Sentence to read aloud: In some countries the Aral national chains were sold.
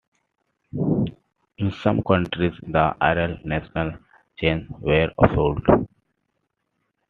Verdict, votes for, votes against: rejected, 1, 2